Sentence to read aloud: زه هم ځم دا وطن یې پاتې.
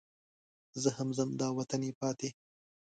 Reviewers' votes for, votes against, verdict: 2, 0, accepted